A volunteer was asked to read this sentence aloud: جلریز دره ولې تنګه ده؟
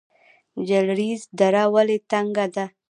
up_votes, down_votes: 0, 2